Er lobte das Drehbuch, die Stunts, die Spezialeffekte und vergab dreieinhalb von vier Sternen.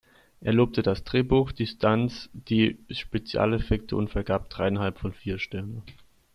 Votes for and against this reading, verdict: 2, 0, accepted